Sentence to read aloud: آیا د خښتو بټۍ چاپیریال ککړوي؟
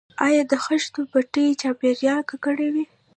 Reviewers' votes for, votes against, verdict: 1, 2, rejected